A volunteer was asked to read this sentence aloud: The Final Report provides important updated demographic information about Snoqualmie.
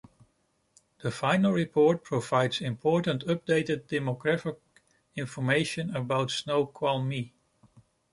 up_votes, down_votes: 2, 0